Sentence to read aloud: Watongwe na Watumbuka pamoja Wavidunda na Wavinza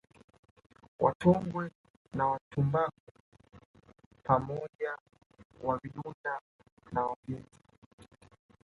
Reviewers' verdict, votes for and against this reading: accepted, 2, 1